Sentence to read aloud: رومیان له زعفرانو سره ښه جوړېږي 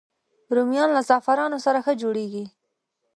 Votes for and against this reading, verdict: 0, 3, rejected